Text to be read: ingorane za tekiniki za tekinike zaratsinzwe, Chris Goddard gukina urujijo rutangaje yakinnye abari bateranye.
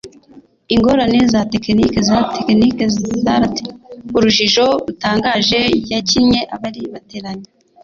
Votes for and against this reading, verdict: 2, 1, accepted